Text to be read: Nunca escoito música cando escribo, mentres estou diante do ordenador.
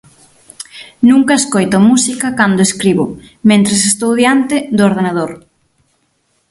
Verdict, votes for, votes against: accepted, 6, 0